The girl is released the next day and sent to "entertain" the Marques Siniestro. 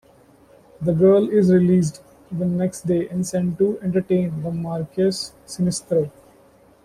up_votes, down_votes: 2, 0